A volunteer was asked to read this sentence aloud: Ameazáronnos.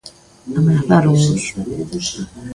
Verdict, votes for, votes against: rejected, 0, 2